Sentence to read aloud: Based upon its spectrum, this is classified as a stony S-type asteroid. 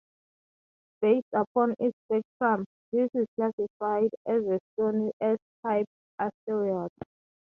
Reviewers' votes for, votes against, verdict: 2, 0, accepted